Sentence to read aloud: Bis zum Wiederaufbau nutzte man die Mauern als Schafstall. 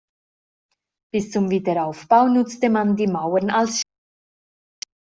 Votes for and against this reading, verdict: 0, 2, rejected